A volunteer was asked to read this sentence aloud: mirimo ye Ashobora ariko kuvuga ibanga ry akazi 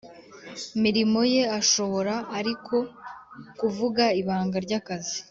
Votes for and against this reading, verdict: 2, 0, accepted